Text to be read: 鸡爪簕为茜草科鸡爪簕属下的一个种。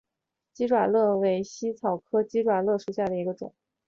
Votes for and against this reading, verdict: 5, 1, accepted